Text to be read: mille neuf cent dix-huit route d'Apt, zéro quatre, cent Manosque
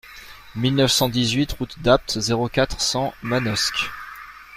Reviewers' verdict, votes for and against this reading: accepted, 2, 0